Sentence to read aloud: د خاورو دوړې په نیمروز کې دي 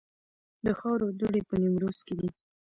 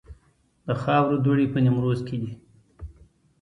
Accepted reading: second